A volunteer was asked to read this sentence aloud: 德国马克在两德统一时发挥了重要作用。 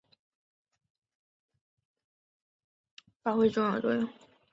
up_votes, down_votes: 1, 2